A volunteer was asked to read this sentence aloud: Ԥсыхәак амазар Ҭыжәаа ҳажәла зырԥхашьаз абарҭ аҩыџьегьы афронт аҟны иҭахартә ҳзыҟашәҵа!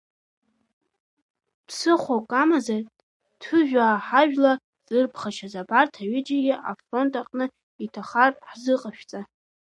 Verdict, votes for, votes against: accepted, 2, 1